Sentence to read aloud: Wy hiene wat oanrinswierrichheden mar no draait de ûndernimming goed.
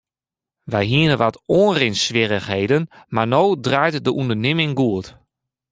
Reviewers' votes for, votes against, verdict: 2, 0, accepted